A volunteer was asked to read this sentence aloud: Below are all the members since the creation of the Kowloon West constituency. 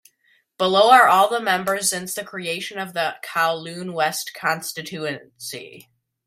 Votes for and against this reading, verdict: 1, 2, rejected